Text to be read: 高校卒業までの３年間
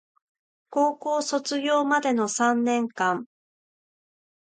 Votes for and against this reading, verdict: 0, 2, rejected